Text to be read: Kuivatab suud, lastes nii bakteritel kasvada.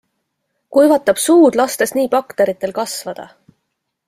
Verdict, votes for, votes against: accepted, 2, 0